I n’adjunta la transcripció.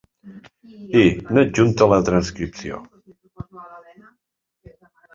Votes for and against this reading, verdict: 2, 0, accepted